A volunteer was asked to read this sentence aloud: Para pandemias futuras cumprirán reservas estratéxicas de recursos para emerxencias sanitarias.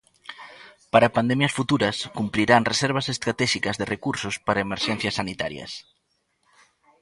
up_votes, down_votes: 2, 0